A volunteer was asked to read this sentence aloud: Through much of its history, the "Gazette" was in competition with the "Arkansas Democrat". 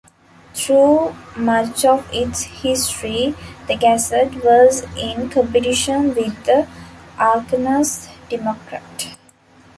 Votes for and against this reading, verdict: 0, 2, rejected